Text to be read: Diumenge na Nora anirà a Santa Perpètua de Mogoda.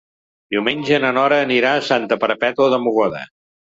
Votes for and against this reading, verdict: 2, 0, accepted